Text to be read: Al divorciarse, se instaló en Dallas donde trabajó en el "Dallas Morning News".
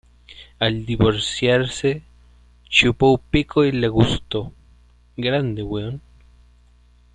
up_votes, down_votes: 0, 2